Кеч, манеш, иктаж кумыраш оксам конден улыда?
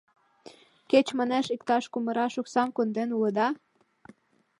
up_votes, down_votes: 0, 2